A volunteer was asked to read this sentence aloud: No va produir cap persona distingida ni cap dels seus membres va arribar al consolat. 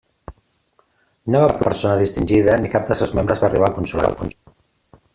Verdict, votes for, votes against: rejected, 0, 2